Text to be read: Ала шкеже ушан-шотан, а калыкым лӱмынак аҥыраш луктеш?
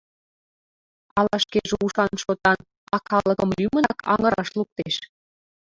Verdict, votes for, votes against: rejected, 0, 2